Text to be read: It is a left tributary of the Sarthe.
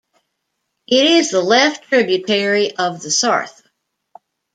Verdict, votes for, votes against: accepted, 2, 0